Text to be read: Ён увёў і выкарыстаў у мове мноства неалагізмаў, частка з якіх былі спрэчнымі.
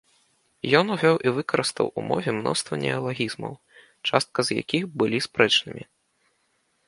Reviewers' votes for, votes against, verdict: 2, 0, accepted